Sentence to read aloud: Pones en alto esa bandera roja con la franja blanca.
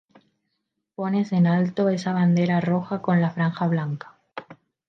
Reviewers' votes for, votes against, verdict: 2, 0, accepted